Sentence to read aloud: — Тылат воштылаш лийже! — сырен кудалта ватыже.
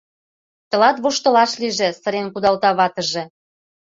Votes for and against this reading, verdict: 2, 0, accepted